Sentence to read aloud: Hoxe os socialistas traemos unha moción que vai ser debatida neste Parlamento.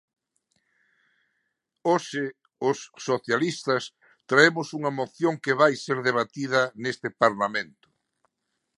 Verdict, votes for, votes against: accepted, 2, 0